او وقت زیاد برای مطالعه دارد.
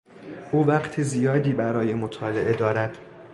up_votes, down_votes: 2, 0